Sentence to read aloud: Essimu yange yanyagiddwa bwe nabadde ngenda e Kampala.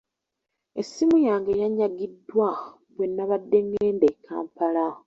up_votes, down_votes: 2, 0